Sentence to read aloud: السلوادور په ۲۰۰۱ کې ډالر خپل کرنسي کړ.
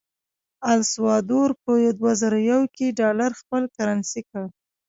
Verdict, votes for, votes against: rejected, 0, 2